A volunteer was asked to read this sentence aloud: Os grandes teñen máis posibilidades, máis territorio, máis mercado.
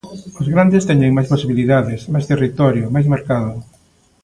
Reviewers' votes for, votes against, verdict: 2, 0, accepted